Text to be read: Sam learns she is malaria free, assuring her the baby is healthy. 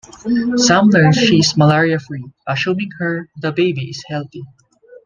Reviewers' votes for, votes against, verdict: 1, 2, rejected